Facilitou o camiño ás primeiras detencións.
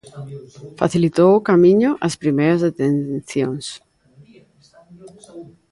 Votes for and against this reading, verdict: 0, 2, rejected